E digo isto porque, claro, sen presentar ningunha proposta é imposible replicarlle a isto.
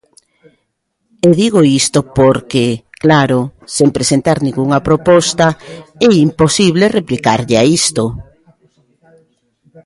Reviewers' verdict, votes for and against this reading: accepted, 2, 0